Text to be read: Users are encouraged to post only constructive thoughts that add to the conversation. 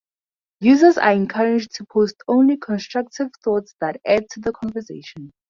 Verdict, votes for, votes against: rejected, 0, 2